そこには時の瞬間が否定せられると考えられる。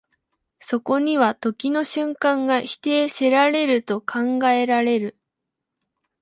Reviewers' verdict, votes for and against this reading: accepted, 2, 0